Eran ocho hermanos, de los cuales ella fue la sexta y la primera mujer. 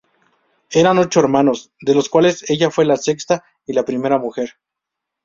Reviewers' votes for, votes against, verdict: 2, 2, rejected